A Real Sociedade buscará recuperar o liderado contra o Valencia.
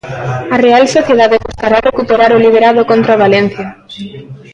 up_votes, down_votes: 1, 2